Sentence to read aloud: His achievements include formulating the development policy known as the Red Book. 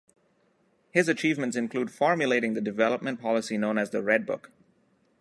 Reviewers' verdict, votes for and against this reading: accepted, 2, 0